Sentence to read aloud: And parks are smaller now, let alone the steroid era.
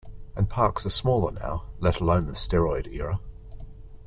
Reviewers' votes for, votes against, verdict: 2, 0, accepted